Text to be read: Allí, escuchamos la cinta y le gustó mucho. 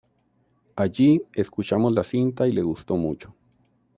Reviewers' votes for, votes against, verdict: 2, 1, accepted